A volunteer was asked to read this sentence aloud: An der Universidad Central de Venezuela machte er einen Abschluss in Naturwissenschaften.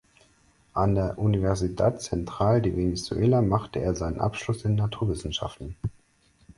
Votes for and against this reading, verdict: 4, 2, accepted